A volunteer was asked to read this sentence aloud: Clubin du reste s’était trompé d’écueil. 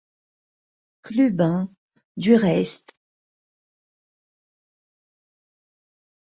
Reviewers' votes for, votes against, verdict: 0, 2, rejected